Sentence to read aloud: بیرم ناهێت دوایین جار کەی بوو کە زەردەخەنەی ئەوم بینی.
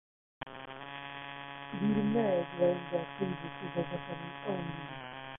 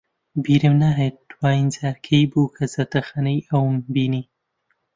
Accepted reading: second